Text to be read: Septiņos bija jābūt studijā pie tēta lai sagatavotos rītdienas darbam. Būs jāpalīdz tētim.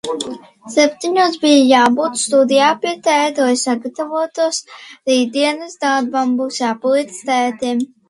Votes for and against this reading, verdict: 2, 0, accepted